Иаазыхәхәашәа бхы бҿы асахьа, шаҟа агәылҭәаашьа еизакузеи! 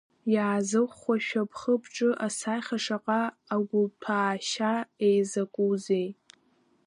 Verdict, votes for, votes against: rejected, 0, 2